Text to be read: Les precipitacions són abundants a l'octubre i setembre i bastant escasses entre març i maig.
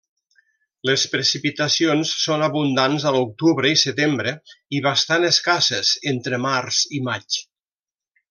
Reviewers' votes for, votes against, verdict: 3, 0, accepted